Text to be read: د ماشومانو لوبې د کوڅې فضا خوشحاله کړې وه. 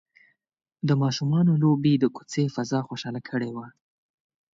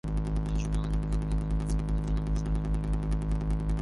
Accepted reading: first